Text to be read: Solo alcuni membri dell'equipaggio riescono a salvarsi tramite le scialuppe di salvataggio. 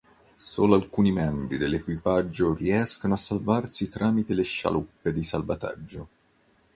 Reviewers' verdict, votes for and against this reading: accepted, 2, 0